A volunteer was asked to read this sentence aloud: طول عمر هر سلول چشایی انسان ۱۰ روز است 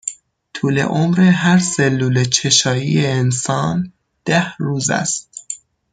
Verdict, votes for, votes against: rejected, 0, 2